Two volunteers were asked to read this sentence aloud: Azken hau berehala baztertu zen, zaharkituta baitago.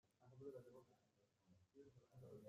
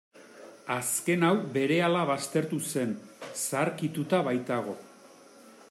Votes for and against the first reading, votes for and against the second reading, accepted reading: 0, 2, 2, 0, second